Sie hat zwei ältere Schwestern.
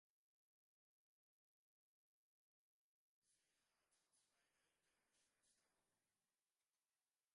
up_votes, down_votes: 0, 4